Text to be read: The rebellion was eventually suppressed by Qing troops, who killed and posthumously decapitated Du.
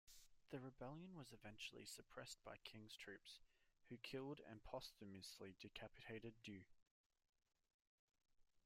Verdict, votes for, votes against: rejected, 0, 2